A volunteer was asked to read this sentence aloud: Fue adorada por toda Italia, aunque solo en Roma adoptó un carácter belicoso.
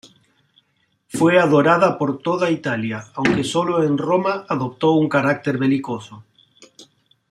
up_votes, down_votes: 2, 0